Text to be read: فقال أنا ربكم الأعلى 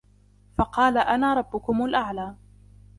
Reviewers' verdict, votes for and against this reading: accepted, 2, 0